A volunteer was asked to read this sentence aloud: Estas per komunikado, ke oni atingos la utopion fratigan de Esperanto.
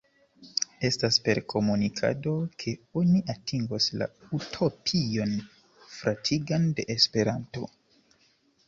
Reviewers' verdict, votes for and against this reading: accepted, 2, 0